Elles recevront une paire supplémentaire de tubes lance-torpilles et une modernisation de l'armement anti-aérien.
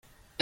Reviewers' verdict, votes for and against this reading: rejected, 0, 2